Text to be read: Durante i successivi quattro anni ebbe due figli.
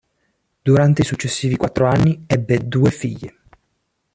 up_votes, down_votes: 2, 1